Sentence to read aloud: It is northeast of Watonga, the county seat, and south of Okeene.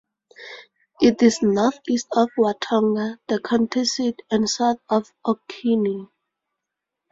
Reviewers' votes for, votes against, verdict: 2, 0, accepted